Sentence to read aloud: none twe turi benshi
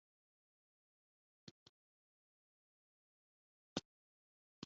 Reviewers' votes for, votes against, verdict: 1, 3, rejected